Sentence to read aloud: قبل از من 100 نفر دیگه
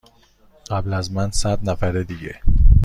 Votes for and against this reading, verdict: 0, 2, rejected